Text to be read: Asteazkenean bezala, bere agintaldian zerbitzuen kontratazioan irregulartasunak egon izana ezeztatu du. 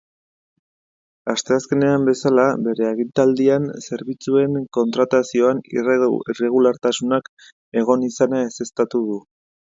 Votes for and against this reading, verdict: 0, 2, rejected